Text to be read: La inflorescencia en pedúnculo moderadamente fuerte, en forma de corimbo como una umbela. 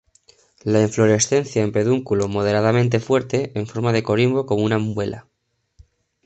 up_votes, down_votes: 1, 2